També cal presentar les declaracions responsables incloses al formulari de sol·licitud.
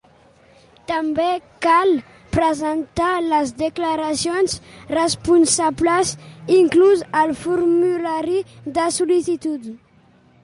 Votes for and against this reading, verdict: 1, 2, rejected